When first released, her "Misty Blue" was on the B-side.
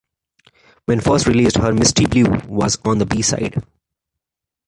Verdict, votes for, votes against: accepted, 2, 1